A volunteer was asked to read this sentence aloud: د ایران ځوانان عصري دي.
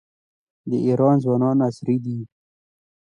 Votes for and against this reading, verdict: 2, 0, accepted